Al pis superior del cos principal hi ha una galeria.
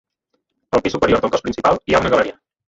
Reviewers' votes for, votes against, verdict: 0, 2, rejected